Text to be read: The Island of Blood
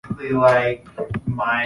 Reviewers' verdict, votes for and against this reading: rejected, 0, 2